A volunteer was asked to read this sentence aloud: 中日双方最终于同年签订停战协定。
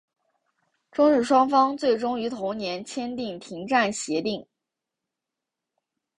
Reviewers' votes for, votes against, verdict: 8, 0, accepted